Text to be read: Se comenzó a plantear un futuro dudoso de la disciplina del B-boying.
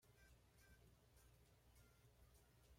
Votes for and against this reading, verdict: 1, 2, rejected